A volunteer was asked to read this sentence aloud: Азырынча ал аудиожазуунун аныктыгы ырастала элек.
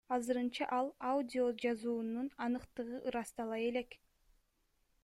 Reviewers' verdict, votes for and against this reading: accepted, 2, 0